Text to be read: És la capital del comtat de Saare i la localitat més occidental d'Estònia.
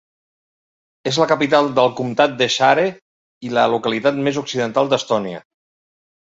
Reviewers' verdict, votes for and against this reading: accepted, 3, 0